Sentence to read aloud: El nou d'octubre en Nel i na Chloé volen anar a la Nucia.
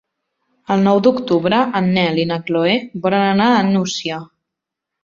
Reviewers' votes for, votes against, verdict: 0, 2, rejected